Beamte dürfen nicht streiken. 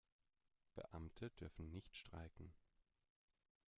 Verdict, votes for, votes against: accepted, 2, 0